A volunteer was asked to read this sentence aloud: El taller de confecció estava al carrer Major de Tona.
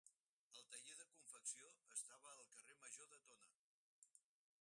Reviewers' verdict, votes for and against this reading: rejected, 0, 4